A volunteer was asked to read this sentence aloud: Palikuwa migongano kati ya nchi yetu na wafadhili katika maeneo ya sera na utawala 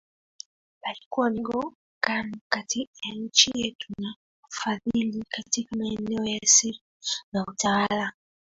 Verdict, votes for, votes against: rejected, 1, 2